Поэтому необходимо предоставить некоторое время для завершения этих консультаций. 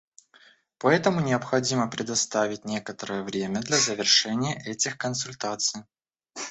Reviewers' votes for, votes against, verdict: 1, 2, rejected